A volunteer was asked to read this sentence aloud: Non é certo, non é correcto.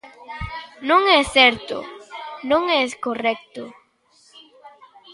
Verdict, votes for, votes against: rejected, 0, 2